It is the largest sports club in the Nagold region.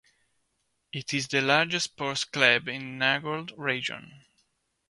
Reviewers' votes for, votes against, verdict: 2, 0, accepted